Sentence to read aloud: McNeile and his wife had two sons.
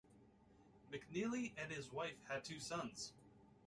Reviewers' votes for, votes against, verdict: 2, 1, accepted